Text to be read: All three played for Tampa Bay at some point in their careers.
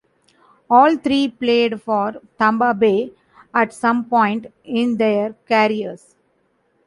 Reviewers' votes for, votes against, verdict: 0, 2, rejected